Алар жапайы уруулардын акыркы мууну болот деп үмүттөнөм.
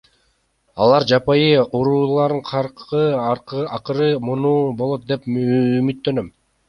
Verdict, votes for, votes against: rejected, 0, 2